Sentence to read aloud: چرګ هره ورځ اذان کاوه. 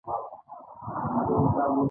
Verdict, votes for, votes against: accepted, 2, 0